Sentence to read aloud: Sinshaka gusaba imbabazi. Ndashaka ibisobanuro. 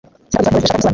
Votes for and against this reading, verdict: 0, 2, rejected